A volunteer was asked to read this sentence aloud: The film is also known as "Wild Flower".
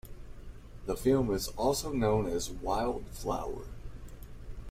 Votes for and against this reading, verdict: 2, 0, accepted